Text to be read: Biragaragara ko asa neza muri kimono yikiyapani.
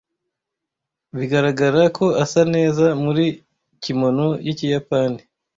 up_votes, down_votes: 1, 2